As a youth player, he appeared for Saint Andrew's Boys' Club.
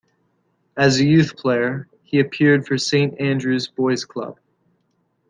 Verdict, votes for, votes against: accepted, 2, 0